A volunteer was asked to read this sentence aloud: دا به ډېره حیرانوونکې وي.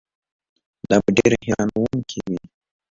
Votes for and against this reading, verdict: 2, 0, accepted